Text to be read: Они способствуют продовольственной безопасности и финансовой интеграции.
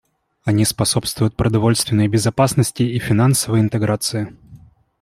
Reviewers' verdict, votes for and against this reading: accepted, 2, 0